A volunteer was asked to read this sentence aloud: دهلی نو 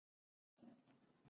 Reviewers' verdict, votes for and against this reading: rejected, 0, 2